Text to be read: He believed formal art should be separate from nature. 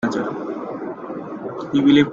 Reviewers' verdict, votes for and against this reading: rejected, 1, 2